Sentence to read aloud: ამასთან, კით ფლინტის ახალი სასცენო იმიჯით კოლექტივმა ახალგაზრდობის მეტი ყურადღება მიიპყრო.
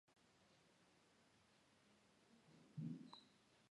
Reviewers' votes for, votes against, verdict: 1, 2, rejected